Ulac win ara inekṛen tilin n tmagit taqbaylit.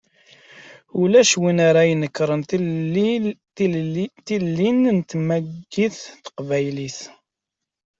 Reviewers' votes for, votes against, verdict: 0, 2, rejected